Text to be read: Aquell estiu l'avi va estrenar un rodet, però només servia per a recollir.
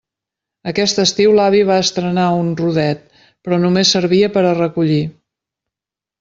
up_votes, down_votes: 2, 3